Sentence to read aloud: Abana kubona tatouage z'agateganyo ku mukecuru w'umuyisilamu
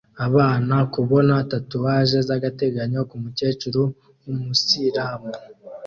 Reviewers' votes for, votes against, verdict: 2, 0, accepted